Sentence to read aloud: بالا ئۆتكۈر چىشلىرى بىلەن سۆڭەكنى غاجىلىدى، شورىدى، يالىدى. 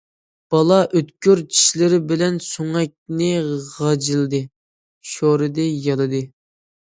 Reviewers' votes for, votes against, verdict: 2, 0, accepted